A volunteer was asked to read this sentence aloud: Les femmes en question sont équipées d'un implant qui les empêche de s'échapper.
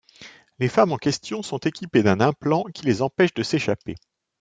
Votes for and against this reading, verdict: 4, 1, accepted